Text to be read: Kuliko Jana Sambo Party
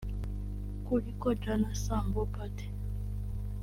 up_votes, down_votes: 0, 2